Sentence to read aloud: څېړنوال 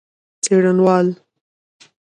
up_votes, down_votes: 1, 2